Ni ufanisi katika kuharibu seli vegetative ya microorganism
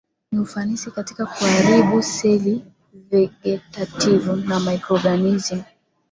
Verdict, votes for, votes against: accepted, 2, 1